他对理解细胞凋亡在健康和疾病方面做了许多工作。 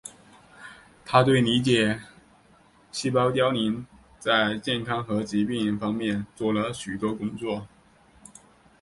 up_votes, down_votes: 3, 2